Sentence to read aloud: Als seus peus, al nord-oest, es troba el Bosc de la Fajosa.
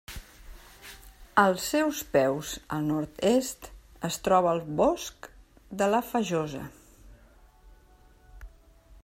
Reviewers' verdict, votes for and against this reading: rejected, 0, 2